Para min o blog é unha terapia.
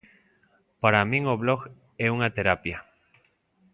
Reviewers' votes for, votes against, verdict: 2, 0, accepted